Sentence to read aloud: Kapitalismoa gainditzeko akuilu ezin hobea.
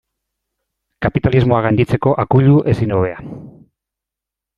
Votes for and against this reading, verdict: 2, 0, accepted